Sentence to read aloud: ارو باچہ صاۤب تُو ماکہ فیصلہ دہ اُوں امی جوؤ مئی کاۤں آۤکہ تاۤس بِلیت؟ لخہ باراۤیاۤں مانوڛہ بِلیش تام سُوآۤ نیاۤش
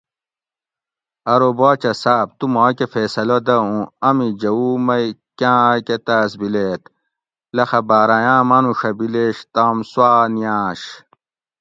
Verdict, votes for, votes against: accepted, 2, 0